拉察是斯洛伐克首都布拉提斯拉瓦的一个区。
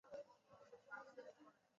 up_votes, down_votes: 0, 2